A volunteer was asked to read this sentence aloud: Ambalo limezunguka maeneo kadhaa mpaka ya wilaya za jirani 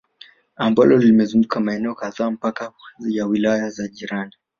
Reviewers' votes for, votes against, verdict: 0, 2, rejected